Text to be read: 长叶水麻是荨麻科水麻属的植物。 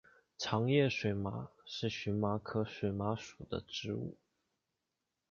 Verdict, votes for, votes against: accepted, 2, 0